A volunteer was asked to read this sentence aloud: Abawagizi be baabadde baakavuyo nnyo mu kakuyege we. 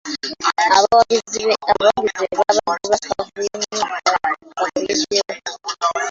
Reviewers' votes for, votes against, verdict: 0, 2, rejected